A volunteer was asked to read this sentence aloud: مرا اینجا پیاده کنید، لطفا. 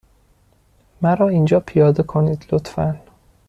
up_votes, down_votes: 2, 0